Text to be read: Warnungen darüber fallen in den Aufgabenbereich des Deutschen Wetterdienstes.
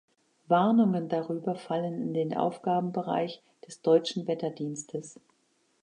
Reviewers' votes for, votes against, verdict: 2, 0, accepted